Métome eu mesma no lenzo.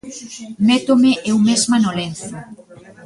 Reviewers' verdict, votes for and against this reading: rejected, 1, 2